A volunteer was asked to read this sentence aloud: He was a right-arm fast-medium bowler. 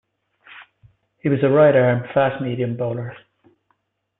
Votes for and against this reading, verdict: 2, 0, accepted